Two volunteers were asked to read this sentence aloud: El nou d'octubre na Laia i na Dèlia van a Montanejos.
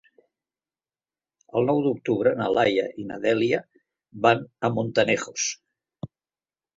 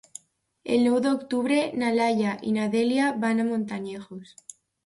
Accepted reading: first